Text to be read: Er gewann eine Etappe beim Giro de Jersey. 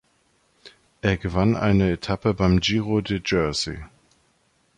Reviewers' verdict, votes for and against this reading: accepted, 2, 1